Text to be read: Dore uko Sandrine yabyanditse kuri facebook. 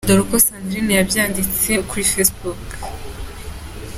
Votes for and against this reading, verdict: 2, 0, accepted